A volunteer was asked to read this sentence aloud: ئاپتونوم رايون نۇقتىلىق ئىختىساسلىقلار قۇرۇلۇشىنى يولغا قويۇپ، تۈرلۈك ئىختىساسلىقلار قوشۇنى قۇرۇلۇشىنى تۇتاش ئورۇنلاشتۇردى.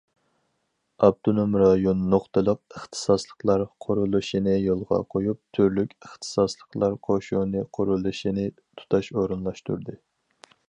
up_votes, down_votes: 4, 0